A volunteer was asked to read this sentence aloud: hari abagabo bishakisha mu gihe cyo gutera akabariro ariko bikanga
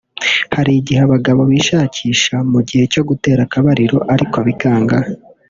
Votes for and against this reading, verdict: 1, 2, rejected